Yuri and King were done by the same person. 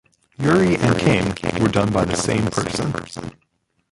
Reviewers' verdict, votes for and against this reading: rejected, 1, 2